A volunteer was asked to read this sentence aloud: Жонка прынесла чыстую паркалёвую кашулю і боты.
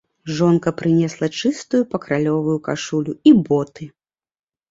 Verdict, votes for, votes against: rejected, 0, 2